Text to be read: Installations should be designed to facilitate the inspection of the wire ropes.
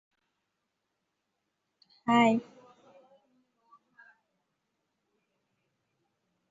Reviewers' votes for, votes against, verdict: 0, 2, rejected